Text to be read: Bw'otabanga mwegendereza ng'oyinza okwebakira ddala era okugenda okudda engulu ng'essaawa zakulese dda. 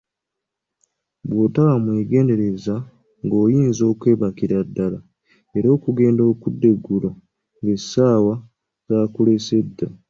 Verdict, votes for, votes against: rejected, 0, 2